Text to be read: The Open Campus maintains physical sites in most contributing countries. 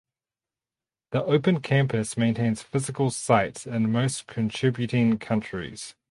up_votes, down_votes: 2, 0